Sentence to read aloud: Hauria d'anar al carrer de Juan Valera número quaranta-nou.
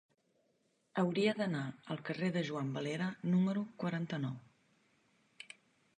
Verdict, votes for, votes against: accepted, 2, 0